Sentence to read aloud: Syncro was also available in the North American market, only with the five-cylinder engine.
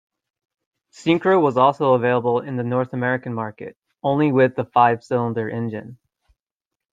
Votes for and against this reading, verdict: 2, 0, accepted